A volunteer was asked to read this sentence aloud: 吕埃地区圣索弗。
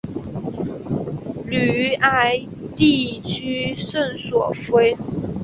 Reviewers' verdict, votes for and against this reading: accepted, 4, 0